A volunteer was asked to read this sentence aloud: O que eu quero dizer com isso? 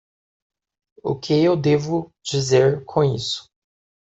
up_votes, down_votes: 0, 2